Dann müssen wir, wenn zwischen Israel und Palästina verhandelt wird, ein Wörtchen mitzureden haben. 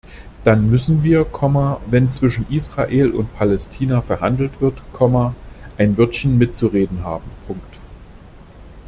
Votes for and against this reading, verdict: 1, 2, rejected